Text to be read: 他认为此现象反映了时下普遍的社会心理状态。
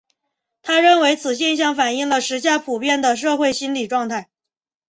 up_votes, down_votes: 2, 0